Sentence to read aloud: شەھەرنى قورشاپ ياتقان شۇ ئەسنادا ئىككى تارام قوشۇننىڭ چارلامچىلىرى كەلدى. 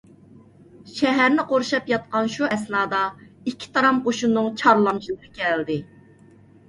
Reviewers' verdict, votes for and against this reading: accepted, 2, 0